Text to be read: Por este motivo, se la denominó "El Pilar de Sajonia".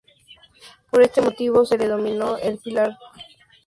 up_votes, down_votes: 0, 4